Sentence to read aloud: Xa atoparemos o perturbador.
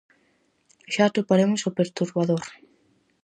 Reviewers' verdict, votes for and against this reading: accepted, 4, 0